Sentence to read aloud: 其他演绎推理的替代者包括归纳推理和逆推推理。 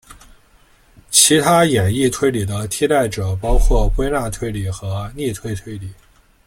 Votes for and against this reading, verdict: 0, 2, rejected